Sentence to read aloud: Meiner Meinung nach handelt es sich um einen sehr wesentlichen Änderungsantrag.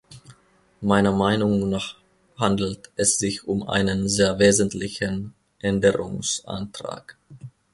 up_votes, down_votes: 2, 0